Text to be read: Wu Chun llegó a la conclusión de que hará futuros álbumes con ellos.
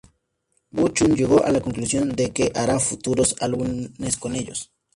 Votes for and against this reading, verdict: 2, 4, rejected